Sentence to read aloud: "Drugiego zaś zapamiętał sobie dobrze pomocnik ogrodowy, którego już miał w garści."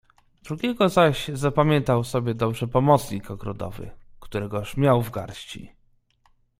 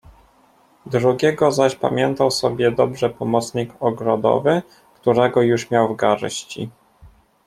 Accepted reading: first